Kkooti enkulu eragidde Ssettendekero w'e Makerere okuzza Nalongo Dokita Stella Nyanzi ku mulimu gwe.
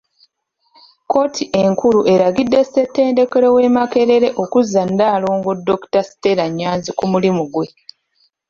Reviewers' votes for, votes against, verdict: 2, 0, accepted